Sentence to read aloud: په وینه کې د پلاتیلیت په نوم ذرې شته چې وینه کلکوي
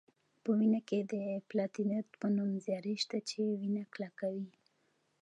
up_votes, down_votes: 2, 0